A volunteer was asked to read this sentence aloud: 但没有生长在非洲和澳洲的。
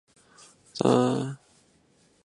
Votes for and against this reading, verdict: 0, 3, rejected